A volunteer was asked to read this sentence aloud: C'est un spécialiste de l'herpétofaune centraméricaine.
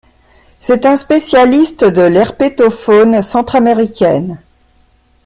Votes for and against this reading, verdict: 2, 1, accepted